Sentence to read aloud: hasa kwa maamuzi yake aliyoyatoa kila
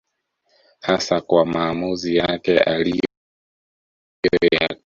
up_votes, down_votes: 0, 2